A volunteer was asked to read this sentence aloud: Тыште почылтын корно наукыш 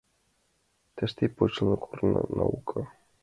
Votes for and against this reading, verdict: 0, 2, rejected